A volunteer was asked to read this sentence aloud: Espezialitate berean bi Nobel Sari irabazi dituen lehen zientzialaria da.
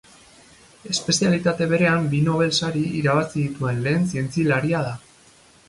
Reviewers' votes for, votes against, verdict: 2, 2, rejected